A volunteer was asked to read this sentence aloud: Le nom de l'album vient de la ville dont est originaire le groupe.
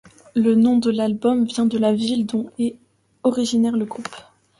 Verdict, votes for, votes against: accepted, 2, 0